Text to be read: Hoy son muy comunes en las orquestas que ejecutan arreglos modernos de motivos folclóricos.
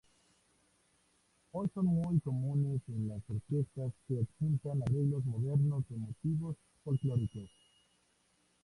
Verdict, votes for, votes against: rejected, 0, 2